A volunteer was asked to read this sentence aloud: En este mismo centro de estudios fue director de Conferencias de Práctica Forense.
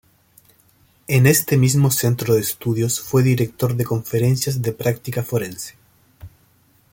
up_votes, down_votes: 2, 0